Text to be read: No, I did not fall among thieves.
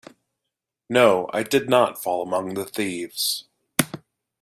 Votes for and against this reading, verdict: 0, 2, rejected